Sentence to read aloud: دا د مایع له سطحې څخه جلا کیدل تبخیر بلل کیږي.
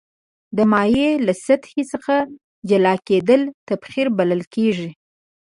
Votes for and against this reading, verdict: 1, 2, rejected